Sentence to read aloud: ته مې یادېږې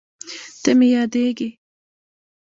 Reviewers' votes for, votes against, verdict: 1, 2, rejected